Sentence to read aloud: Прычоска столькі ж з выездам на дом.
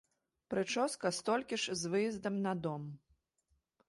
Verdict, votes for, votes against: accepted, 2, 0